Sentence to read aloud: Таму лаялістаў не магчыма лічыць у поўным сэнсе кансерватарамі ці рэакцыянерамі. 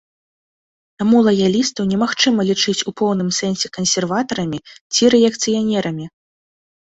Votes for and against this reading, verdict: 0, 2, rejected